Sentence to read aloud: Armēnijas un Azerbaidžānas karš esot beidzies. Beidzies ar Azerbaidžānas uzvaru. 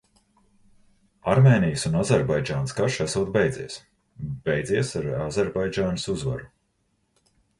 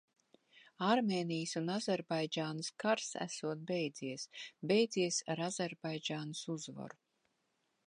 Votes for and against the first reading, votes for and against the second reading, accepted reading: 2, 0, 2, 2, first